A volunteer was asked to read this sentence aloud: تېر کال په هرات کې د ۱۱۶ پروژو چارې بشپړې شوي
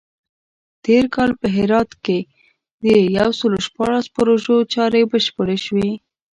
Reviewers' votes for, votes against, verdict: 0, 2, rejected